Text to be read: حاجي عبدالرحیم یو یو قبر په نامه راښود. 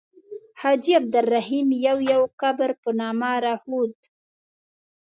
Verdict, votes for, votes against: accepted, 2, 0